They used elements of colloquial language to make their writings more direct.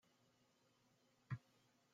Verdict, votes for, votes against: rejected, 0, 2